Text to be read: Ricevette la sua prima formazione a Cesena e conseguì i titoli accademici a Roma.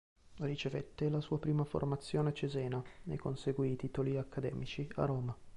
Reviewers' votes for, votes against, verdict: 2, 0, accepted